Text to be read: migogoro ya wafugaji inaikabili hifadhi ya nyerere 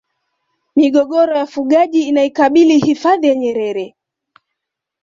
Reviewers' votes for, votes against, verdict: 2, 0, accepted